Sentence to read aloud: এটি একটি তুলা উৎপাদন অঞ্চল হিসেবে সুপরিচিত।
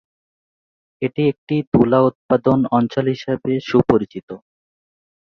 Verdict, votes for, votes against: accepted, 6, 4